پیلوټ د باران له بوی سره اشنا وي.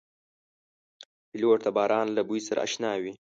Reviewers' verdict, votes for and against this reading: accepted, 2, 1